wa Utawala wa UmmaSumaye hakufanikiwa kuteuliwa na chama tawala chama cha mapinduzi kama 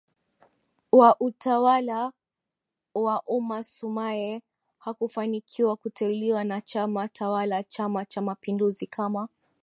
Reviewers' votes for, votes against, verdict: 1, 2, rejected